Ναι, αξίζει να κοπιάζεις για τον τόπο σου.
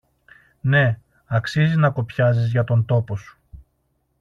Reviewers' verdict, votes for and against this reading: accepted, 2, 0